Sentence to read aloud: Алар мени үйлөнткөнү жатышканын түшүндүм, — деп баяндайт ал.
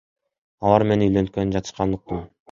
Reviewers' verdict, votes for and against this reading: rejected, 1, 2